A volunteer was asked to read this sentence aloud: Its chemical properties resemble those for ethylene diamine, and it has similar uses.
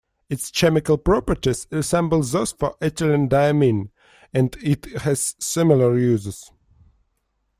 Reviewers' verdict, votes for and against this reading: rejected, 1, 2